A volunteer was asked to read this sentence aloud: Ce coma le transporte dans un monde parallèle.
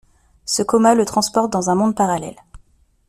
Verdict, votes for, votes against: accepted, 2, 0